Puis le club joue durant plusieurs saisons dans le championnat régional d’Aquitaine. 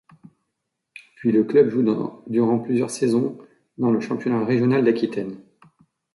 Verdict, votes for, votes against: rejected, 1, 2